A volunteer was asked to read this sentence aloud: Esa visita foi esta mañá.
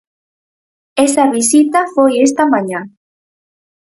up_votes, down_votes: 6, 0